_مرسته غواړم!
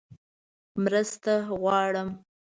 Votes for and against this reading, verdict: 2, 0, accepted